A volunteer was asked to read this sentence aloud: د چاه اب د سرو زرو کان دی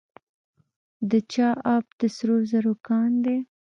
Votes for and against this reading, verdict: 0, 2, rejected